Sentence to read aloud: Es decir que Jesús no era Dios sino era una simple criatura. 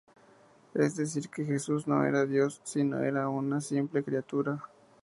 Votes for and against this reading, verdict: 0, 2, rejected